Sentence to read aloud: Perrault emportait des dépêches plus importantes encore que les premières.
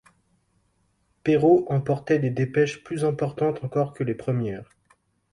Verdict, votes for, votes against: accepted, 2, 0